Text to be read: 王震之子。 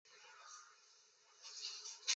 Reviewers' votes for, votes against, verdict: 1, 2, rejected